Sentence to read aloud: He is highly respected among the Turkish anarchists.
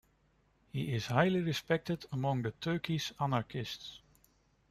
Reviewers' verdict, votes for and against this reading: accepted, 2, 1